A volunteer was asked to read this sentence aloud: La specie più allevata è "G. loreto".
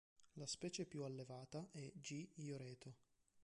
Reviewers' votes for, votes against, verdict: 1, 2, rejected